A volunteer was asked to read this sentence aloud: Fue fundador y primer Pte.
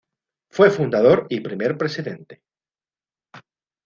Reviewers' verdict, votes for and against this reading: accepted, 2, 0